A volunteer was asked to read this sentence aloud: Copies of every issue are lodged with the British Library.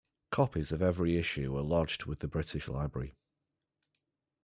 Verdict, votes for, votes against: accepted, 2, 0